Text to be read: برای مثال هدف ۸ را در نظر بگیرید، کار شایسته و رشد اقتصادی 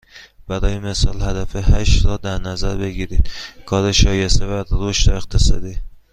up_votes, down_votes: 0, 2